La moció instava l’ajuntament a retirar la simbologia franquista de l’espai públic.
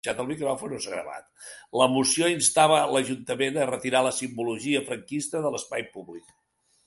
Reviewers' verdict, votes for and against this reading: rejected, 0, 2